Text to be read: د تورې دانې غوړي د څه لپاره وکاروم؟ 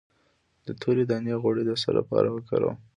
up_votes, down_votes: 2, 0